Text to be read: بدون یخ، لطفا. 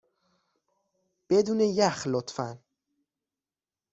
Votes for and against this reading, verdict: 2, 0, accepted